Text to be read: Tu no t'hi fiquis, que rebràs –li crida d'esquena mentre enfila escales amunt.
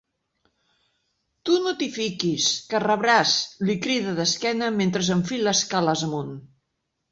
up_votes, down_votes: 2, 0